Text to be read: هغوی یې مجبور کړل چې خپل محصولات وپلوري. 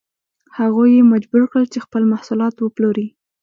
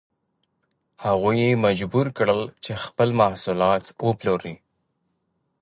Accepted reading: second